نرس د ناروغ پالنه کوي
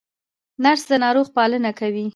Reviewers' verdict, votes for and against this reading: rejected, 1, 2